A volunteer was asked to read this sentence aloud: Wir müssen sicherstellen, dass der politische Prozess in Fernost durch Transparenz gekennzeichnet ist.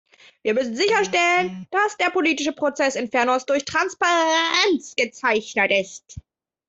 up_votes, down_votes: 0, 2